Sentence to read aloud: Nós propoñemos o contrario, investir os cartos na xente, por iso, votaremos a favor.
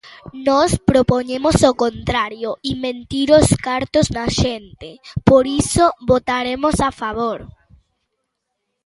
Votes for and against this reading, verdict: 0, 2, rejected